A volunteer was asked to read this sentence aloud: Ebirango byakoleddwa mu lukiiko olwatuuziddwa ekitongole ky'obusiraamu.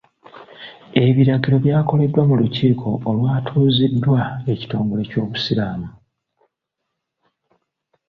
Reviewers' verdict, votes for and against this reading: rejected, 0, 2